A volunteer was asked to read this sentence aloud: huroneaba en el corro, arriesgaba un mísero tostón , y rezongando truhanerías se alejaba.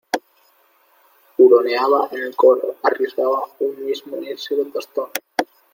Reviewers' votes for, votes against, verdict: 0, 2, rejected